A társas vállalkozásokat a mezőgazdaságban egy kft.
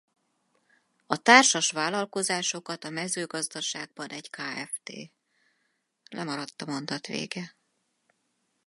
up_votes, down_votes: 0, 4